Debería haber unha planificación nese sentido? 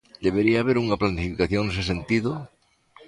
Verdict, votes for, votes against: rejected, 0, 2